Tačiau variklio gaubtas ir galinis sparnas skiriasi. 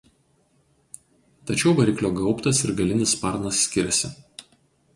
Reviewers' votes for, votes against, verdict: 2, 2, rejected